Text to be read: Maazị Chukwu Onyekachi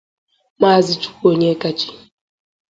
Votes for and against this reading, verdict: 2, 0, accepted